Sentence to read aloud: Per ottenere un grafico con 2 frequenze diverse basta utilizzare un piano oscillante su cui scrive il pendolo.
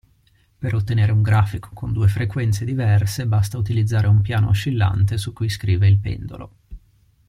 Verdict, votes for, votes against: rejected, 0, 2